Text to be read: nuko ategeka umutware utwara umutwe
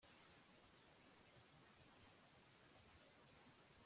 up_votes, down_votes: 0, 2